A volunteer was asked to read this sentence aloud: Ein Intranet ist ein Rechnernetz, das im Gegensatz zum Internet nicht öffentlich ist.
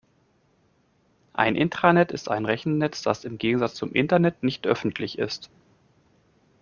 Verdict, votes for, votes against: rejected, 0, 2